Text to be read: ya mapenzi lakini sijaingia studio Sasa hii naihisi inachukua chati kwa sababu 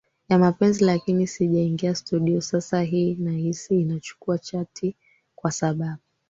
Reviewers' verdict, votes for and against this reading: accepted, 2, 1